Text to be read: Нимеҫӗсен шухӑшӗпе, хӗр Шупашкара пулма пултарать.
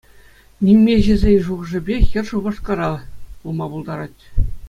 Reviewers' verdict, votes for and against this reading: accepted, 2, 0